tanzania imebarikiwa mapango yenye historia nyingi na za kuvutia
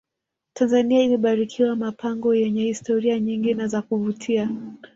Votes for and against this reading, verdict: 1, 2, rejected